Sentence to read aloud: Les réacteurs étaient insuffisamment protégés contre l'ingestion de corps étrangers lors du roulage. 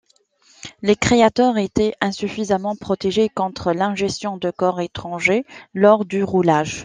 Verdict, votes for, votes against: rejected, 0, 2